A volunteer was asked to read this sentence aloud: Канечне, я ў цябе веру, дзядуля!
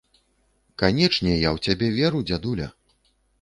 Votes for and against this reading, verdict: 2, 0, accepted